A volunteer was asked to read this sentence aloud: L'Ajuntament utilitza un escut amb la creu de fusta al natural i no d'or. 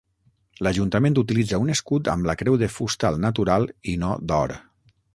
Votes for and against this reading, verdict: 6, 0, accepted